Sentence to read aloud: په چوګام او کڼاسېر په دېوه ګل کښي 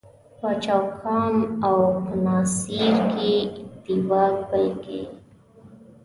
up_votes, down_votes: 0, 2